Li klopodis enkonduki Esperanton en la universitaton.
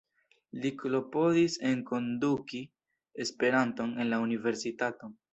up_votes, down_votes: 1, 2